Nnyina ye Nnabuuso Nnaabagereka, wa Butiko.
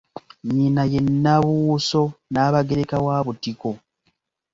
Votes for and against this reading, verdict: 1, 2, rejected